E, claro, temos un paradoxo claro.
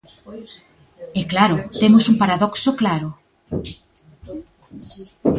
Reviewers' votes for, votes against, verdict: 1, 2, rejected